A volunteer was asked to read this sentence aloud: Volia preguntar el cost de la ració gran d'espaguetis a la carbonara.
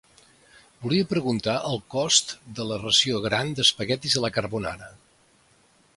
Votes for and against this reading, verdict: 2, 0, accepted